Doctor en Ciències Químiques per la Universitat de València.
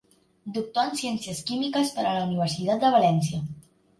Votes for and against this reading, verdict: 1, 2, rejected